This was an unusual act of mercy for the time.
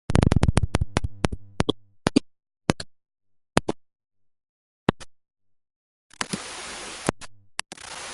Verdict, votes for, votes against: rejected, 0, 2